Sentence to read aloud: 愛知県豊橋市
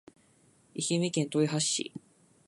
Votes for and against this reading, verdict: 0, 2, rejected